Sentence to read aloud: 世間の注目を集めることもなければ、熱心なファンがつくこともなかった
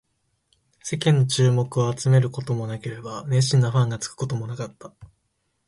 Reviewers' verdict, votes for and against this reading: accepted, 2, 0